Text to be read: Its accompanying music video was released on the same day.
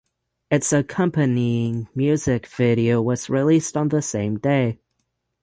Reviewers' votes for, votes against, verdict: 6, 0, accepted